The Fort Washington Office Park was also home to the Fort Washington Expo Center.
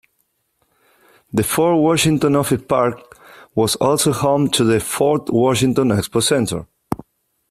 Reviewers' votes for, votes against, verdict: 1, 2, rejected